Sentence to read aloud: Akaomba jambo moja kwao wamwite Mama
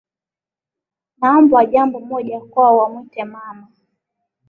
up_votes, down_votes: 4, 0